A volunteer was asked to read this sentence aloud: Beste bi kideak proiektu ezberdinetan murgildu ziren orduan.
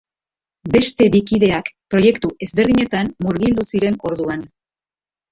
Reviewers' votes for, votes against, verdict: 3, 0, accepted